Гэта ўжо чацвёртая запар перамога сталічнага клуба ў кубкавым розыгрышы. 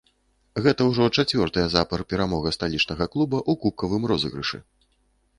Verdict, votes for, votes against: accepted, 2, 0